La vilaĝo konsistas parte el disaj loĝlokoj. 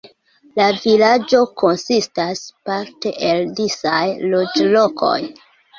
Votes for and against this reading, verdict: 2, 0, accepted